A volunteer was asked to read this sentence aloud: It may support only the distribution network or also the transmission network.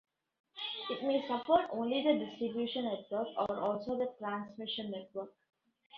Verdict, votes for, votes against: rejected, 0, 2